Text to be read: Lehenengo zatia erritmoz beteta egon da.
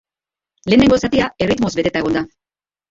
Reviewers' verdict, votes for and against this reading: rejected, 0, 3